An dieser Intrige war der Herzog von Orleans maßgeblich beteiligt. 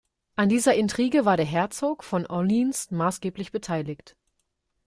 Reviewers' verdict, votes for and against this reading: accepted, 2, 0